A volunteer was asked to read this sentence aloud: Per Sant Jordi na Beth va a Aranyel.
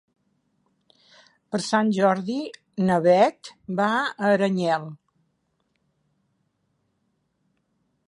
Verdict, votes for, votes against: accepted, 3, 0